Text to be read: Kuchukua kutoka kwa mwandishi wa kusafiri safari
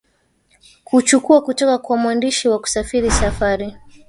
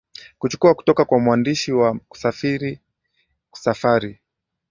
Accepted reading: second